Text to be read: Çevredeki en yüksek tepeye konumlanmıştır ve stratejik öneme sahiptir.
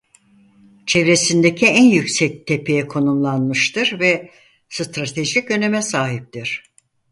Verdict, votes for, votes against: rejected, 2, 4